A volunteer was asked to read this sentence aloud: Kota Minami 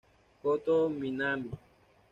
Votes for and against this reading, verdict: 1, 2, rejected